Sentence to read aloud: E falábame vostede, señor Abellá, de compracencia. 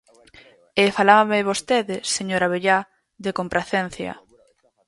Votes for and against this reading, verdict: 2, 4, rejected